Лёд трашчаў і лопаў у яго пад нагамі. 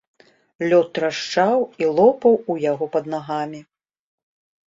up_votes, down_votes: 2, 0